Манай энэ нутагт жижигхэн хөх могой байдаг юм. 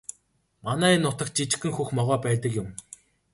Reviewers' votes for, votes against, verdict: 3, 0, accepted